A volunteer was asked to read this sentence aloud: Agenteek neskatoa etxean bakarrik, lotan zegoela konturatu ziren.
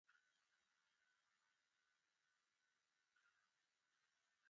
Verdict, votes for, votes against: rejected, 0, 2